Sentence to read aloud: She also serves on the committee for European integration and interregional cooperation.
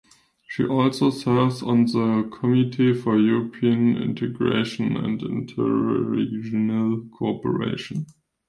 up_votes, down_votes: 1, 2